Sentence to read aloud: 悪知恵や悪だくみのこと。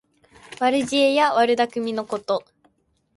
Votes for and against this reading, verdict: 2, 0, accepted